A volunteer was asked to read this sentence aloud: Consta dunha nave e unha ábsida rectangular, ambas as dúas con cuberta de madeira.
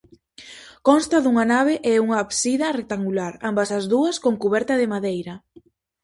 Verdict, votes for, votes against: rejected, 0, 4